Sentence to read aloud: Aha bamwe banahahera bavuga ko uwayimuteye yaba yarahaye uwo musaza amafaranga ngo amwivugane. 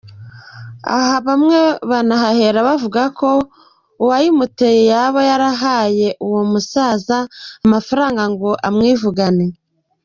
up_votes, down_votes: 3, 0